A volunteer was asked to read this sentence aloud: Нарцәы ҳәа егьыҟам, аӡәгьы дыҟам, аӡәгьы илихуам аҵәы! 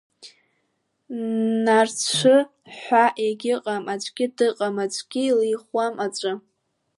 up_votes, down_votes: 2, 0